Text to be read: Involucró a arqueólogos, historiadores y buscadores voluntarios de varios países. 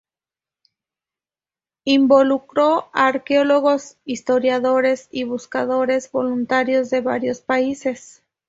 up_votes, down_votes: 2, 0